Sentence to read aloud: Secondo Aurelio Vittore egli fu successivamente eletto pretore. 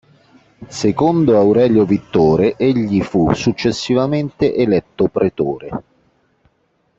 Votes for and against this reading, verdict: 2, 0, accepted